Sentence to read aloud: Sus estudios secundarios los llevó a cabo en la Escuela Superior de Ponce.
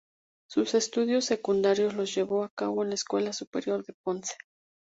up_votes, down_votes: 2, 0